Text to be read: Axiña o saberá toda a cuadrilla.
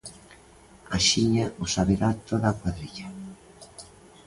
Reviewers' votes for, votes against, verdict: 2, 0, accepted